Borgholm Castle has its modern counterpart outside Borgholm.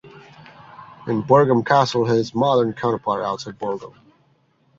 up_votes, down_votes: 1, 2